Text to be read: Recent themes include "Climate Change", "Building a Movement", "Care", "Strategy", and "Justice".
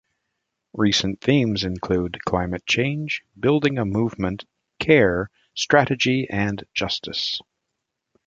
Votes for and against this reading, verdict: 2, 0, accepted